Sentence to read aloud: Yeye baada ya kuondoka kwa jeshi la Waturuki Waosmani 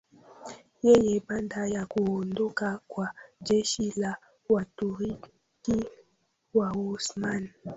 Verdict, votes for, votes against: rejected, 1, 2